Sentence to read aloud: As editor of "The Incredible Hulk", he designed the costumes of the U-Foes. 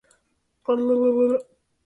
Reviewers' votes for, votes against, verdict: 0, 4, rejected